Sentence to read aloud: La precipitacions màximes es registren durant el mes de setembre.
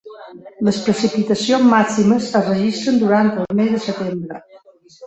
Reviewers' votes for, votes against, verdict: 2, 3, rejected